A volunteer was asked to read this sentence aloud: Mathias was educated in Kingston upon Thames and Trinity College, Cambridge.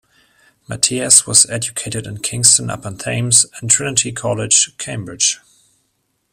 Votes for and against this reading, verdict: 2, 1, accepted